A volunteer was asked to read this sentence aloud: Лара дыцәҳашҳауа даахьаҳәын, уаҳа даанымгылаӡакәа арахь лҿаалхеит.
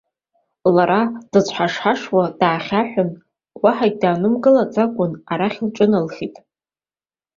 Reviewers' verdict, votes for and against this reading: accepted, 2, 0